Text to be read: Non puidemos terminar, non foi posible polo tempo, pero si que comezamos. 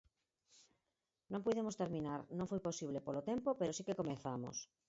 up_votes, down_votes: 2, 4